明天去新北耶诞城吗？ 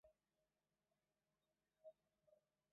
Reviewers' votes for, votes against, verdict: 0, 2, rejected